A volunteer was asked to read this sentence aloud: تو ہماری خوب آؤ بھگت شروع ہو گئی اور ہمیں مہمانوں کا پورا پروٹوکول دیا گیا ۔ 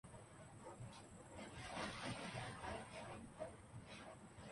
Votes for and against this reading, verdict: 0, 3, rejected